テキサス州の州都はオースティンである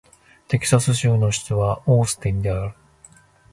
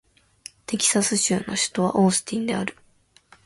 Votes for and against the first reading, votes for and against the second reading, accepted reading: 0, 2, 2, 0, second